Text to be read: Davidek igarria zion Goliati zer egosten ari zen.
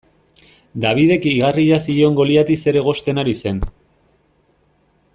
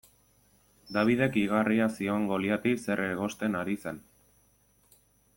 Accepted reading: second